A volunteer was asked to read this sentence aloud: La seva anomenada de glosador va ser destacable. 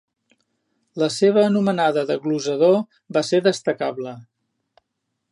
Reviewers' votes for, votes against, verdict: 2, 0, accepted